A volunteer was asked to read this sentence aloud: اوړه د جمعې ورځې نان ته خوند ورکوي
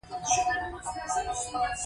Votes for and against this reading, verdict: 1, 2, rejected